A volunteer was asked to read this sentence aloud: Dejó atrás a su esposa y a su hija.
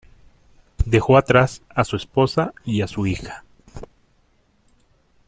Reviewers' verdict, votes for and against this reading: accepted, 2, 0